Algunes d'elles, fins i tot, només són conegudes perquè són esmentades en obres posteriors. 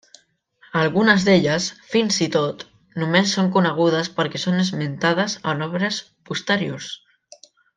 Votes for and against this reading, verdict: 3, 0, accepted